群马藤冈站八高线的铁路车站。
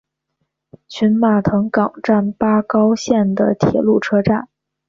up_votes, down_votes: 6, 0